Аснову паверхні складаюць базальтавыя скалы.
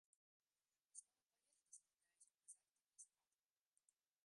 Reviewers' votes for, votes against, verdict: 0, 2, rejected